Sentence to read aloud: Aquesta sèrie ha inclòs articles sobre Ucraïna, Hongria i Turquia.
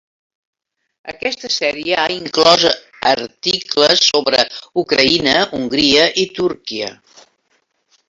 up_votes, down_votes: 4, 1